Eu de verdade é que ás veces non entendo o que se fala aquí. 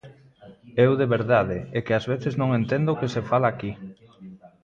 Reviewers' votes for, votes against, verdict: 2, 0, accepted